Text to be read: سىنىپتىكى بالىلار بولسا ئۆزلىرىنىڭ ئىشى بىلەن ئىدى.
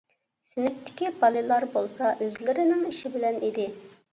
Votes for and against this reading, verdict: 2, 0, accepted